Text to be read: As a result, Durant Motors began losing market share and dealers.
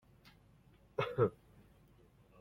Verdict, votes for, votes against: rejected, 0, 2